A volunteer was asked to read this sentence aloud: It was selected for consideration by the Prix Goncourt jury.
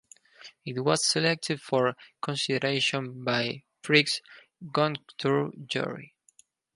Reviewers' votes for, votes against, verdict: 0, 4, rejected